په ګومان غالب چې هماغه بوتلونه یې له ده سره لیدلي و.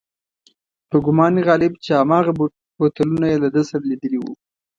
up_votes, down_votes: 2, 0